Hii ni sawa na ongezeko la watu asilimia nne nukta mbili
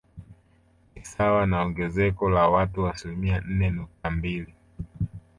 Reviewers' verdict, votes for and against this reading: rejected, 1, 2